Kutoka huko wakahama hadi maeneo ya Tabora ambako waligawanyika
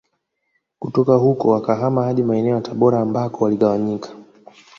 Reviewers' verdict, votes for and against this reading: rejected, 1, 2